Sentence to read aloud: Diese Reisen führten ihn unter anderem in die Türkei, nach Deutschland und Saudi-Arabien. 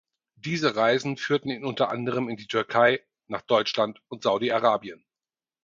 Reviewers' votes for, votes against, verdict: 4, 0, accepted